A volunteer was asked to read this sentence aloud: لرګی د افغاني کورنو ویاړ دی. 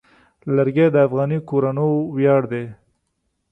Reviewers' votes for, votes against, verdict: 3, 0, accepted